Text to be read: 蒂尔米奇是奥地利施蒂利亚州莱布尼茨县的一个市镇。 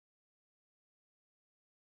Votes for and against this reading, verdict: 0, 2, rejected